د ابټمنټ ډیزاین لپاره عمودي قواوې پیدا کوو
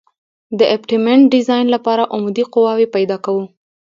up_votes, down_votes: 2, 0